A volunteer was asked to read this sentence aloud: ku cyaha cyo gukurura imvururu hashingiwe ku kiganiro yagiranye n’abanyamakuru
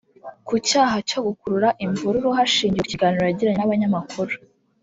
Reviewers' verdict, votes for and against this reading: accepted, 3, 0